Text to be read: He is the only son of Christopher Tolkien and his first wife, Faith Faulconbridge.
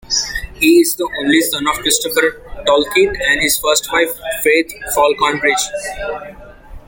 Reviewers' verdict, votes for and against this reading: rejected, 1, 2